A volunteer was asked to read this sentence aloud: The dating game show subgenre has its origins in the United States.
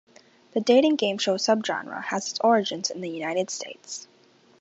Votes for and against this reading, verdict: 2, 0, accepted